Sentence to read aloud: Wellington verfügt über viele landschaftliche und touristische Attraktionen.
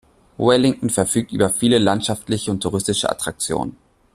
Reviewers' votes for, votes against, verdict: 2, 0, accepted